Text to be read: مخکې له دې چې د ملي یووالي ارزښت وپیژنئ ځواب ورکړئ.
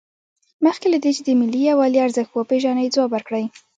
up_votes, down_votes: 0, 2